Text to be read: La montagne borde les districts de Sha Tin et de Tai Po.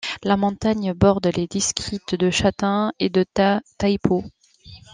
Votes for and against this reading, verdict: 1, 2, rejected